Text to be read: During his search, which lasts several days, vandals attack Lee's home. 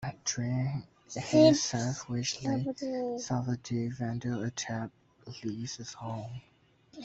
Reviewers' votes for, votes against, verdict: 0, 2, rejected